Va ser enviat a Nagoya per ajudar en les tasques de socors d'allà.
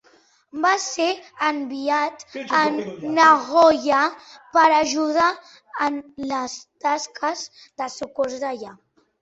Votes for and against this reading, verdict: 3, 2, accepted